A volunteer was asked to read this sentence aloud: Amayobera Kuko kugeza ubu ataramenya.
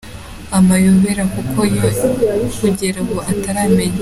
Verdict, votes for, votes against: rejected, 1, 2